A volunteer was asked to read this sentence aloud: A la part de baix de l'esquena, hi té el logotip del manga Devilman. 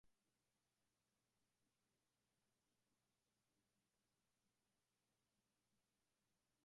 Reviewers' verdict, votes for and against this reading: rejected, 0, 2